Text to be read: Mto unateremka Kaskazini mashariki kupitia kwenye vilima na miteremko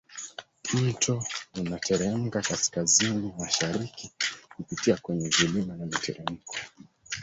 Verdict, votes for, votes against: rejected, 3, 4